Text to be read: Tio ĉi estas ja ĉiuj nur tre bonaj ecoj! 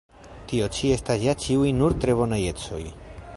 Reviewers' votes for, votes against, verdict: 0, 2, rejected